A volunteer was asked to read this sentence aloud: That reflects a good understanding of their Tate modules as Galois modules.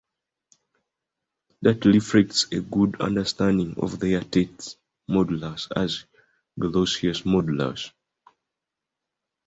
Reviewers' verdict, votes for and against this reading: rejected, 0, 2